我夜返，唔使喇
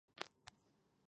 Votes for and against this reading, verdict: 0, 2, rejected